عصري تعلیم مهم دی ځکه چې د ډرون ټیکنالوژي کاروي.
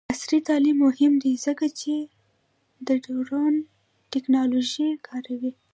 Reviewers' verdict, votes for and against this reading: rejected, 0, 2